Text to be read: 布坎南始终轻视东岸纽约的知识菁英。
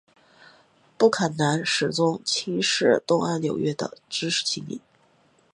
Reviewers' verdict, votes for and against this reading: accepted, 2, 0